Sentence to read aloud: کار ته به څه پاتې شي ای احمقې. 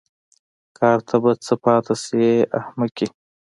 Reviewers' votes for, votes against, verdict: 2, 1, accepted